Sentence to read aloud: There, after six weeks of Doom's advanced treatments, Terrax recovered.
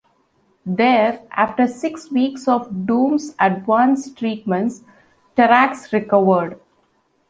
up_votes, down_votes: 2, 0